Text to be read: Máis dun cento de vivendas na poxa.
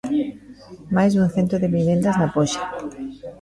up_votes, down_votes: 2, 1